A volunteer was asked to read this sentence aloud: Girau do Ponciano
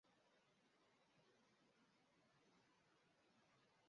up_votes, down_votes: 0, 2